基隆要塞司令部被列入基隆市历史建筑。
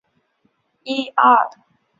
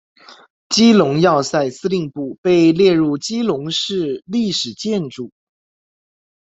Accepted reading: second